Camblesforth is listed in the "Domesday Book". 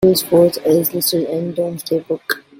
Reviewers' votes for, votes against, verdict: 0, 2, rejected